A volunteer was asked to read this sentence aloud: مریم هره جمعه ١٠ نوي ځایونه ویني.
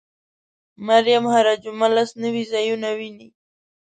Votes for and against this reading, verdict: 0, 2, rejected